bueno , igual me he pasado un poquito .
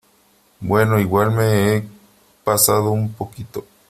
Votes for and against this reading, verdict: 3, 1, accepted